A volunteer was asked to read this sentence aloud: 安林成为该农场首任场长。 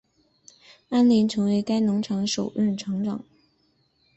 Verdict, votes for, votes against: accepted, 3, 0